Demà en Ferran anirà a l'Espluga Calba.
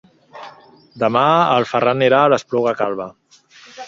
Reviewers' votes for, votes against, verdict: 0, 2, rejected